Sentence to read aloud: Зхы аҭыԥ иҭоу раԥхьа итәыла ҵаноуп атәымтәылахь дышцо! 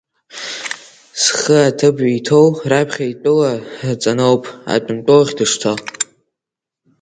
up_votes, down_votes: 2, 1